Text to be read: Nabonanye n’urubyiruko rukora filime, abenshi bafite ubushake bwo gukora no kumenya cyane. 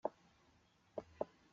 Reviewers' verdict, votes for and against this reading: rejected, 0, 2